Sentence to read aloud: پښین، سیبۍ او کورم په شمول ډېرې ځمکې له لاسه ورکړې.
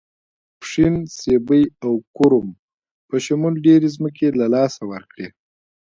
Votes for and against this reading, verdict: 1, 2, rejected